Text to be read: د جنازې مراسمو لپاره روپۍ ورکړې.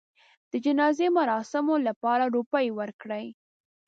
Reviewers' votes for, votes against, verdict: 0, 2, rejected